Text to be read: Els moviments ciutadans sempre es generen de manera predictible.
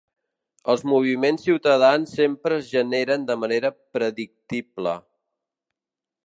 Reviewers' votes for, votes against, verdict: 2, 0, accepted